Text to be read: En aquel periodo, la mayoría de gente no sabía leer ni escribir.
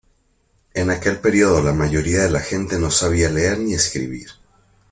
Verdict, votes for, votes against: rejected, 0, 2